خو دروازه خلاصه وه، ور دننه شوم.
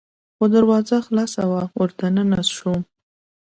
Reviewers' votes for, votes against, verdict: 2, 0, accepted